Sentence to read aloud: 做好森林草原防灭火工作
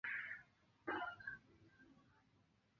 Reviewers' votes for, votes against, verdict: 0, 2, rejected